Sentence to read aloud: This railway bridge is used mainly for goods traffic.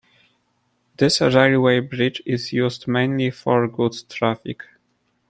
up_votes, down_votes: 2, 0